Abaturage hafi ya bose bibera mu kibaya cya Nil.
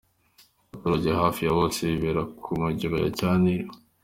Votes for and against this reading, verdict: 1, 2, rejected